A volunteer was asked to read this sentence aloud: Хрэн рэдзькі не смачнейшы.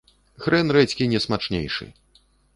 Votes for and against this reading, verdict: 2, 0, accepted